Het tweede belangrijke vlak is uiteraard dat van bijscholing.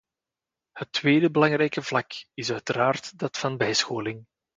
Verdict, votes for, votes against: accepted, 2, 0